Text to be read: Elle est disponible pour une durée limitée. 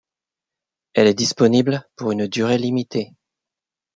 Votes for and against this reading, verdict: 3, 0, accepted